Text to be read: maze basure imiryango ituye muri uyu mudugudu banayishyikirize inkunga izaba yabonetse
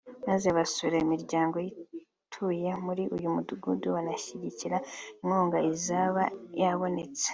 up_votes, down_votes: 1, 2